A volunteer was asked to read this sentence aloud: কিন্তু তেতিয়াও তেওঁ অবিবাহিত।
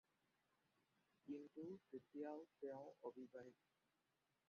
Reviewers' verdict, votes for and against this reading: rejected, 0, 2